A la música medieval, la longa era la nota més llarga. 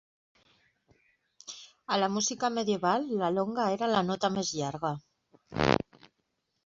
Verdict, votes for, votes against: accepted, 3, 0